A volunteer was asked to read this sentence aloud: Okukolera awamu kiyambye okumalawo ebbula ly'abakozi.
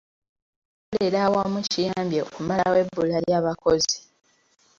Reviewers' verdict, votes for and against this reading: rejected, 0, 2